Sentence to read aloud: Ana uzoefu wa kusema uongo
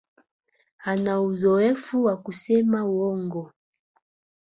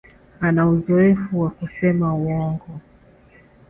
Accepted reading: second